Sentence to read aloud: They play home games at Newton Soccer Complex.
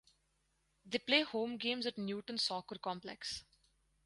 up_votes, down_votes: 4, 0